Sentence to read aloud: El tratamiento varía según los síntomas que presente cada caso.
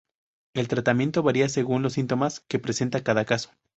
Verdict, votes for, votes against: rejected, 2, 2